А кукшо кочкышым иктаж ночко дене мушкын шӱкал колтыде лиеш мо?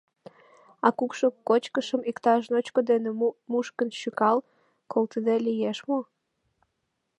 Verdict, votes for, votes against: rejected, 1, 2